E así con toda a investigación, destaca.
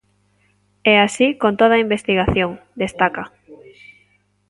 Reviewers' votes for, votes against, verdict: 0, 2, rejected